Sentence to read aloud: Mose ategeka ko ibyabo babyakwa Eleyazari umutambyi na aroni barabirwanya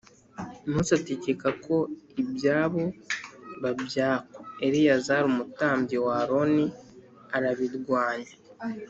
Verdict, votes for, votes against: rejected, 0, 3